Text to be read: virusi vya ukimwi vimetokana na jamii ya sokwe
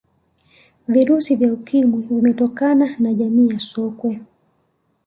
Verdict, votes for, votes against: accepted, 2, 0